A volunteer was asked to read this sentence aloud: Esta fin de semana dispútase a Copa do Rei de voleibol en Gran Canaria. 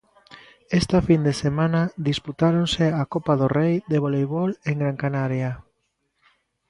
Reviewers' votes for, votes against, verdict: 0, 2, rejected